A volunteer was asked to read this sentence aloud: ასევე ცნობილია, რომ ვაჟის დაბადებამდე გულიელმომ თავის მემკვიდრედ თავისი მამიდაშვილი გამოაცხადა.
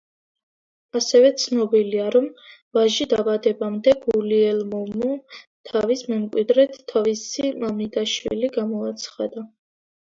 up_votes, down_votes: 0, 2